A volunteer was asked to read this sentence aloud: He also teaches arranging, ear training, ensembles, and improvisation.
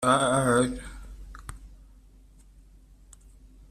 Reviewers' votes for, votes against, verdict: 0, 2, rejected